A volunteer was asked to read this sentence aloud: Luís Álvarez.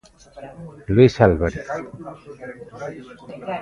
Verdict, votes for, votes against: rejected, 1, 2